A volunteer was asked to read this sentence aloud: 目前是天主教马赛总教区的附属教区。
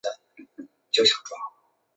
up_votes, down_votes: 0, 2